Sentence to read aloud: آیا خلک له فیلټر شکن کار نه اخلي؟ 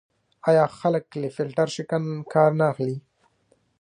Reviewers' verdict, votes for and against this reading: rejected, 0, 2